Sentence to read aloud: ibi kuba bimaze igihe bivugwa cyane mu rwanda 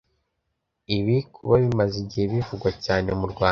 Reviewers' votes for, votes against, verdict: 1, 2, rejected